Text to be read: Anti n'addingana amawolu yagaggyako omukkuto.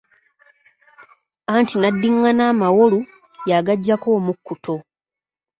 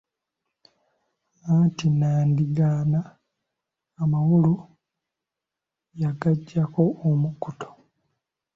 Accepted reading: first